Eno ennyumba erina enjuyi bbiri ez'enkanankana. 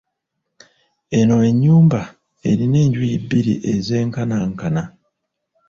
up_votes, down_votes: 1, 2